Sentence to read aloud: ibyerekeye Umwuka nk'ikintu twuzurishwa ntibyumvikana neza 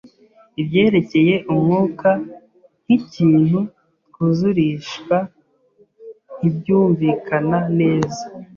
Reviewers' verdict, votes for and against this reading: accepted, 2, 0